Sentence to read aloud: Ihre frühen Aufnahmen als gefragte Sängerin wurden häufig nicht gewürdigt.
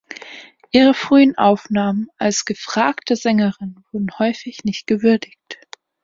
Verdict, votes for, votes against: accepted, 2, 1